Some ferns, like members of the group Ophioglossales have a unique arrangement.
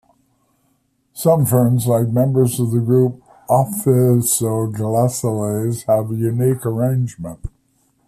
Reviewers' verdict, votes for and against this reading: rejected, 0, 2